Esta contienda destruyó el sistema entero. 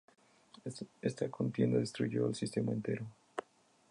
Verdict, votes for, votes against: accepted, 2, 0